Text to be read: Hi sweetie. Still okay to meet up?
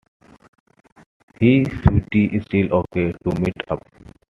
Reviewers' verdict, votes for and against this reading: rejected, 0, 2